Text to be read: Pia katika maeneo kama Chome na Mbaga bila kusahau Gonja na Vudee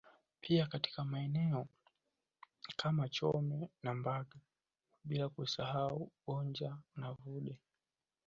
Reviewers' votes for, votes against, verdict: 2, 3, rejected